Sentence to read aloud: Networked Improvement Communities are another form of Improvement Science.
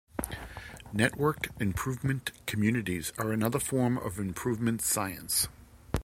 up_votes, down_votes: 2, 0